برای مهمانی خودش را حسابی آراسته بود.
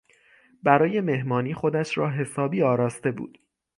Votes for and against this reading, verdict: 6, 0, accepted